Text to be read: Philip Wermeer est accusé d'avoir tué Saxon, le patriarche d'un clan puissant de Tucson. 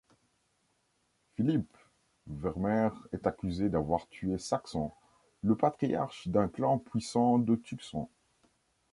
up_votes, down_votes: 2, 0